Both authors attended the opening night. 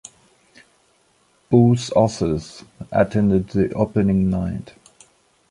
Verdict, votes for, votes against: accepted, 2, 0